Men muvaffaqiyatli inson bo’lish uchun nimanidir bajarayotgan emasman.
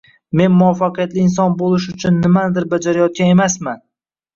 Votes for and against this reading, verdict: 1, 2, rejected